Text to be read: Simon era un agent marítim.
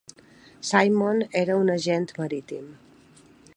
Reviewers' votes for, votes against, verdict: 2, 0, accepted